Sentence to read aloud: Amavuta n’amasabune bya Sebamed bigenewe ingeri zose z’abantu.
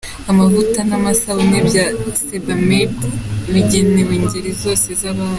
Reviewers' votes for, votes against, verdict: 2, 0, accepted